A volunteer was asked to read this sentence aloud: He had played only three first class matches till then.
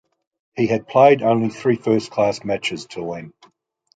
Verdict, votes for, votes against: rejected, 1, 2